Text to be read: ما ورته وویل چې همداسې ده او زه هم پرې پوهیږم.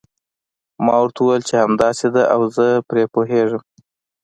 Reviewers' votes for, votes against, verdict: 2, 0, accepted